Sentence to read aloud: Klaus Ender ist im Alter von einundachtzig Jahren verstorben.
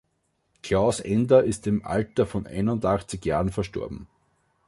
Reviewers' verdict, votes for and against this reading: accepted, 2, 0